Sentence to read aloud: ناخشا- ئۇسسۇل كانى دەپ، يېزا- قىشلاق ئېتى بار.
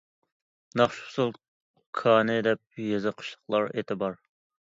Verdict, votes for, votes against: rejected, 0, 2